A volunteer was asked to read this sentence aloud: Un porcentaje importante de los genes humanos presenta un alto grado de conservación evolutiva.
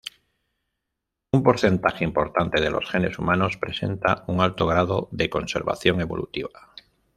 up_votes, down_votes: 3, 0